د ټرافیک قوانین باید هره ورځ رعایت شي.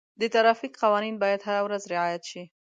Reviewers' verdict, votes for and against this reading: accepted, 2, 0